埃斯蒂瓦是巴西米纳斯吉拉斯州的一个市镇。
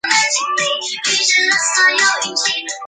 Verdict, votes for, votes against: rejected, 0, 5